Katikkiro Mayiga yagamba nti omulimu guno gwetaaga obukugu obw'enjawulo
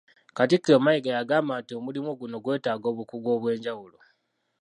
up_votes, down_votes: 1, 2